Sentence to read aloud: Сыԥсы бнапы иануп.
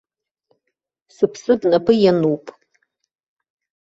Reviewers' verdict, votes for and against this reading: rejected, 0, 2